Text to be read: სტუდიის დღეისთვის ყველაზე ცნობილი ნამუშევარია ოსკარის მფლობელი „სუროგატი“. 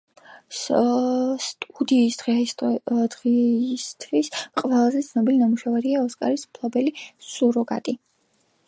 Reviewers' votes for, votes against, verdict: 1, 2, rejected